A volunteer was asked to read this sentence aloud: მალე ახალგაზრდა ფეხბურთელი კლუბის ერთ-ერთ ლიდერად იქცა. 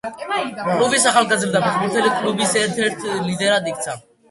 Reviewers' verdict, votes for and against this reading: rejected, 0, 2